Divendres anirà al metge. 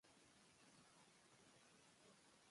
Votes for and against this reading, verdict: 0, 2, rejected